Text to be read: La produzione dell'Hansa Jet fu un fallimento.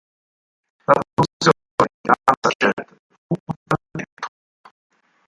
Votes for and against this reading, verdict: 0, 4, rejected